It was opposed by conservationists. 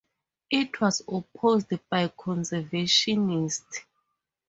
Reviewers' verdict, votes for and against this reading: rejected, 0, 2